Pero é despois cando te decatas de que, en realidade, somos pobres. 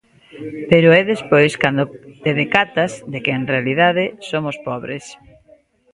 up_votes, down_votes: 0, 2